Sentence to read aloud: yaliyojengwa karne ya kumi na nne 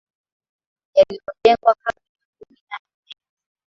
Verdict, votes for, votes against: rejected, 0, 2